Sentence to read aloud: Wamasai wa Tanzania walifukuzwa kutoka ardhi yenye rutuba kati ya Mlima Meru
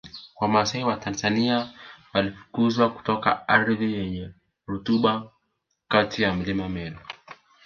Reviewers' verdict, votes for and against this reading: accepted, 2, 1